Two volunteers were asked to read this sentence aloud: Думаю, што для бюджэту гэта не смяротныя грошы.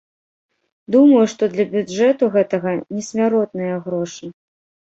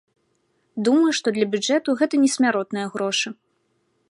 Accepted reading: second